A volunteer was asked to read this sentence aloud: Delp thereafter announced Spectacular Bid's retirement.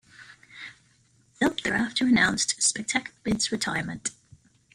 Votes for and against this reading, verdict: 0, 2, rejected